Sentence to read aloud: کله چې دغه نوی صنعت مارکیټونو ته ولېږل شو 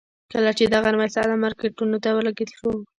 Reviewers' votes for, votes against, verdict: 0, 2, rejected